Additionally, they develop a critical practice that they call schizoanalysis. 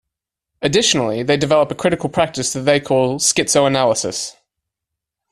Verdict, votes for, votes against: accepted, 2, 0